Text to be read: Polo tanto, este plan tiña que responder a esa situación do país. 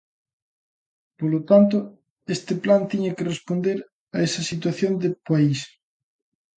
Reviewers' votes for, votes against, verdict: 0, 2, rejected